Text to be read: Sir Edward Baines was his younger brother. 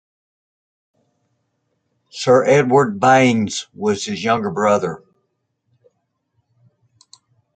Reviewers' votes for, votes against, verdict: 2, 0, accepted